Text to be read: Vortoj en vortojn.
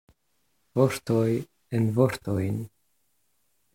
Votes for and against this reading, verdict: 2, 0, accepted